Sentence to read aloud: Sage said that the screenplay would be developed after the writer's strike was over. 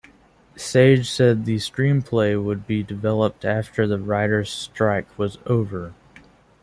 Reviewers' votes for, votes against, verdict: 0, 2, rejected